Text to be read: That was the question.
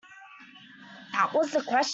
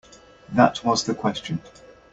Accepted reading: second